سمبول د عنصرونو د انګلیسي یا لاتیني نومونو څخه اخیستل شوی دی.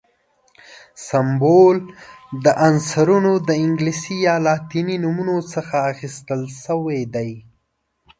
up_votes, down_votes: 2, 0